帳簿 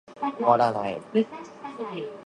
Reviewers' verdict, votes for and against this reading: rejected, 0, 2